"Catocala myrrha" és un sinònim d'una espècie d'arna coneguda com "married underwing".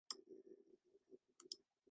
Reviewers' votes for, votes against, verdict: 0, 2, rejected